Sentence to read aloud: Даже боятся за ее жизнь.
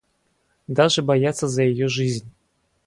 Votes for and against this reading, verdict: 2, 2, rejected